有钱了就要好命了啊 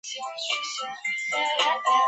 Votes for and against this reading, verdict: 0, 6, rejected